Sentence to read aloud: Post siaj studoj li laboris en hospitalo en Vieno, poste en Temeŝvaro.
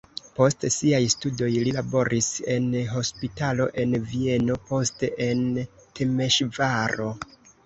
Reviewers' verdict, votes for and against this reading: rejected, 0, 2